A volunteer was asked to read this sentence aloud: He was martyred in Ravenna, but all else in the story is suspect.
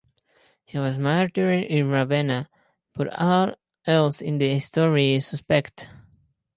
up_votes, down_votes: 0, 2